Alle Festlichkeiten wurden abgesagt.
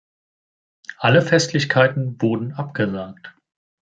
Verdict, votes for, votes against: accepted, 2, 0